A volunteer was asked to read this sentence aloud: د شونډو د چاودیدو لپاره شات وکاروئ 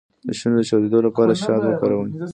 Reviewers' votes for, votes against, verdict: 1, 2, rejected